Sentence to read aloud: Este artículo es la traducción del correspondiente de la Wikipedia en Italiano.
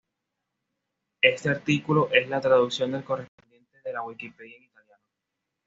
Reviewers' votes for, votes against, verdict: 2, 1, accepted